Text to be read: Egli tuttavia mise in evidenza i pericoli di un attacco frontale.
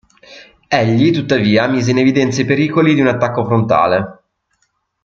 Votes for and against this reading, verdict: 2, 0, accepted